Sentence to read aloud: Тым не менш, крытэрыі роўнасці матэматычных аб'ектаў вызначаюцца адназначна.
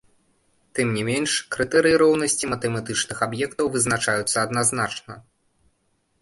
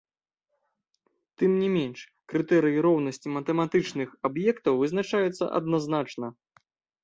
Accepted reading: second